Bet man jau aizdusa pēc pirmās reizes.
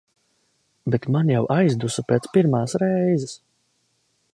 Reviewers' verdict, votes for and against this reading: accepted, 2, 0